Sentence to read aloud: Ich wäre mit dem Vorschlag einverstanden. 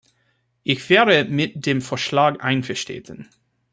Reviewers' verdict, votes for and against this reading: rejected, 0, 2